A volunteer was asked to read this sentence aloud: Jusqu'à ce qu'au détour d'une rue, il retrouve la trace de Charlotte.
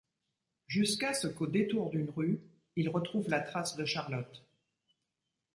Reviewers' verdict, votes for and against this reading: accepted, 2, 0